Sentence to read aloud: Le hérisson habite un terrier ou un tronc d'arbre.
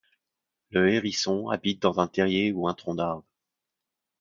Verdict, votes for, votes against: rejected, 1, 2